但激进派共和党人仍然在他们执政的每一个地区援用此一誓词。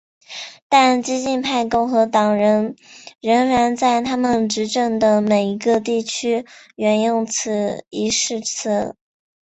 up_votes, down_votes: 1, 2